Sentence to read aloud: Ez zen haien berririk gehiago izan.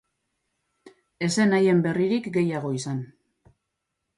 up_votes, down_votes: 4, 0